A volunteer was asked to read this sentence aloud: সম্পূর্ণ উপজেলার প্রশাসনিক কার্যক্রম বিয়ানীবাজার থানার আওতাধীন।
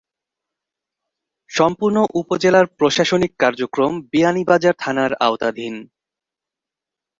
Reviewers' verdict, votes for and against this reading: accepted, 2, 0